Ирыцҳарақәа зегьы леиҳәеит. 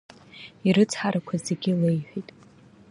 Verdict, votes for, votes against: accepted, 2, 0